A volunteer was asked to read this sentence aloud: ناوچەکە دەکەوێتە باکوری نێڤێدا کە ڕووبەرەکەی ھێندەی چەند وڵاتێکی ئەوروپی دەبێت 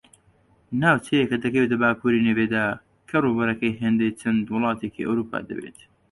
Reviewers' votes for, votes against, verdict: 1, 2, rejected